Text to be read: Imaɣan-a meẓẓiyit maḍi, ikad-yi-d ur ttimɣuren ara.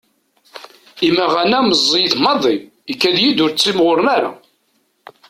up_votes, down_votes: 2, 0